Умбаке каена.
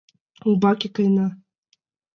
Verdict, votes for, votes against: accepted, 2, 0